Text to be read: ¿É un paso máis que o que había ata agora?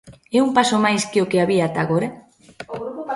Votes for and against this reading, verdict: 0, 2, rejected